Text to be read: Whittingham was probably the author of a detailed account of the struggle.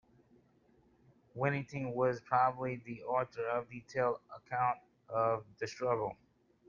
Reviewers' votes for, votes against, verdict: 2, 1, accepted